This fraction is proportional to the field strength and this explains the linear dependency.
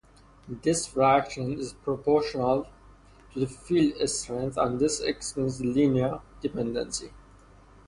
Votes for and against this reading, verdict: 0, 2, rejected